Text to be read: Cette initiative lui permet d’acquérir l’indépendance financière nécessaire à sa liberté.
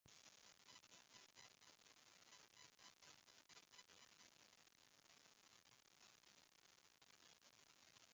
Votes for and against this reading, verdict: 1, 2, rejected